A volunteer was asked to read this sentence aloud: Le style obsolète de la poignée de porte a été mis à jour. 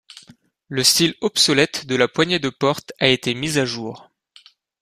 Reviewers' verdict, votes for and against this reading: accepted, 2, 0